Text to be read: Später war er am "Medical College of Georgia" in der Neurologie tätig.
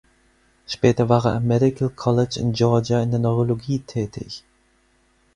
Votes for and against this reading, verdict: 0, 4, rejected